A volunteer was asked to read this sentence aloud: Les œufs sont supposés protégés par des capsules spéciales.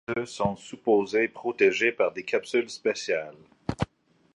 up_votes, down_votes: 0, 2